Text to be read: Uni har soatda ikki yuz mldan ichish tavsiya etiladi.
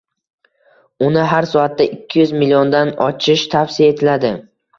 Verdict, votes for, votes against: accepted, 2, 1